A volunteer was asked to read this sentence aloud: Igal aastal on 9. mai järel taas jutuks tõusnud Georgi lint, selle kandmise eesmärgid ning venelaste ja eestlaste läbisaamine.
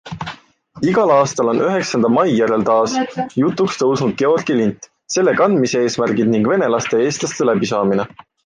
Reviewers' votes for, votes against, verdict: 0, 2, rejected